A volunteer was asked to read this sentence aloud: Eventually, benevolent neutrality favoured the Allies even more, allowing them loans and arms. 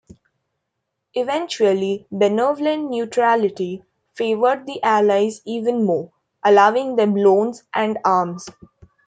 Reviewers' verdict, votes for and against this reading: accepted, 2, 1